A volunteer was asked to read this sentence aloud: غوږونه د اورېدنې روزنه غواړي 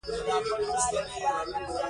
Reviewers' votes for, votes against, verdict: 1, 2, rejected